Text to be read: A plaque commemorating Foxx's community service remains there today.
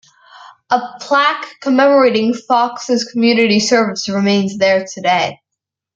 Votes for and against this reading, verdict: 2, 1, accepted